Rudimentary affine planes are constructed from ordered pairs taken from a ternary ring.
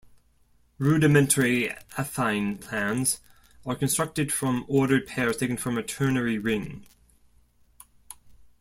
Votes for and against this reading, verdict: 0, 2, rejected